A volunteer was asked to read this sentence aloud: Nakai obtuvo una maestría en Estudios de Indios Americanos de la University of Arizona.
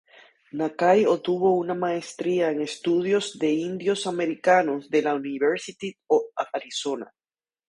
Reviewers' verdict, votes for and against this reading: accepted, 2, 0